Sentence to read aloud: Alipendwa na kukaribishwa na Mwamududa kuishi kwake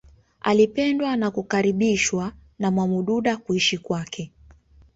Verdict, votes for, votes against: accepted, 2, 0